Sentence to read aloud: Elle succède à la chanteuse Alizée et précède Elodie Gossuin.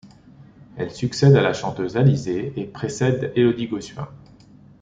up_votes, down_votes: 2, 0